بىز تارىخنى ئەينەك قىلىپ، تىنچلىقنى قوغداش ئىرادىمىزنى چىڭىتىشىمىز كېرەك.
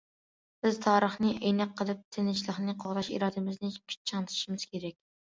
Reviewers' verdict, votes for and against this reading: accepted, 2, 1